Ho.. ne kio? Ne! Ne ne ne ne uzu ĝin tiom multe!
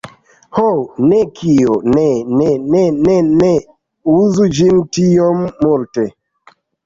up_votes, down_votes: 0, 2